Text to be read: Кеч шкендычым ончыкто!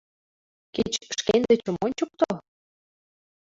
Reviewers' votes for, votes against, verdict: 0, 2, rejected